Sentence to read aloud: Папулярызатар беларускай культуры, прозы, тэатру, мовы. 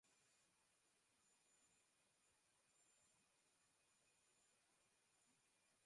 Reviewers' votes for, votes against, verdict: 0, 2, rejected